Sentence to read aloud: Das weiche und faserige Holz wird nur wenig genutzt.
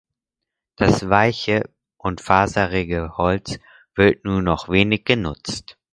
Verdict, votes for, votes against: rejected, 0, 4